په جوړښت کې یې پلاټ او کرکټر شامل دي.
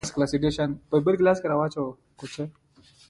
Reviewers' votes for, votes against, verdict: 1, 2, rejected